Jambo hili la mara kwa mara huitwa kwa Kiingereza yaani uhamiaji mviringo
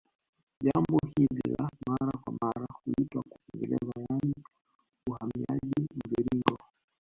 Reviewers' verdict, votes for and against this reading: rejected, 0, 2